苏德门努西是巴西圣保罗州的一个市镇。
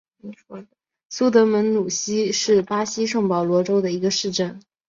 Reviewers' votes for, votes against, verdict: 3, 1, accepted